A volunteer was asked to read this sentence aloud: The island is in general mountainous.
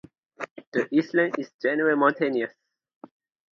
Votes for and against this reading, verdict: 2, 0, accepted